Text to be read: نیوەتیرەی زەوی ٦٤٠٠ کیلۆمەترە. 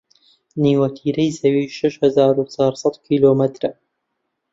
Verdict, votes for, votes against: rejected, 0, 2